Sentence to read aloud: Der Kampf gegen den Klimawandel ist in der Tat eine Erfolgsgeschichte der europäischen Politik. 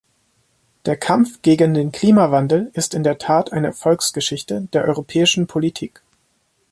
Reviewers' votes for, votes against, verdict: 2, 0, accepted